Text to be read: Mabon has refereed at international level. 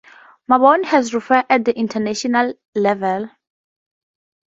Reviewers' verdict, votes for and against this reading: accepted, 2, 0